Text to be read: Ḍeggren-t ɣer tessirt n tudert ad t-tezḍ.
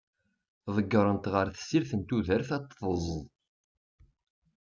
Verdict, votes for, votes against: accepted, 3, 0